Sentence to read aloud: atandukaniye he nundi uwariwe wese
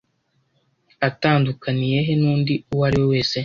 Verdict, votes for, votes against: accepted, 2, 0